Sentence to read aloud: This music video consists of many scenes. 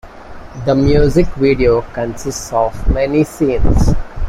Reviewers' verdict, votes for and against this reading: accepted, 2, 1